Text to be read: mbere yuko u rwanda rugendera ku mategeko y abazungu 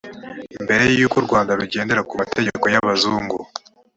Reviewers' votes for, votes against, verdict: 2, 0, accepted